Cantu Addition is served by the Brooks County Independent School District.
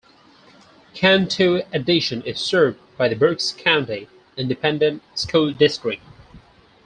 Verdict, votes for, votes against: accepted, 4, 0